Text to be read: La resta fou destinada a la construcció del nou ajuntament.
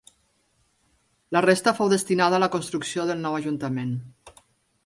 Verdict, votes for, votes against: accepted, 3, 0